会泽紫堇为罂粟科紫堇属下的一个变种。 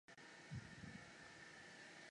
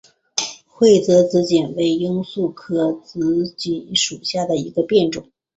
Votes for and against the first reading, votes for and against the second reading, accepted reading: 0, 2, 4, 0, second